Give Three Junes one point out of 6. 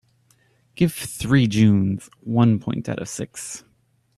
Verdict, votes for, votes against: rejected, 0, 2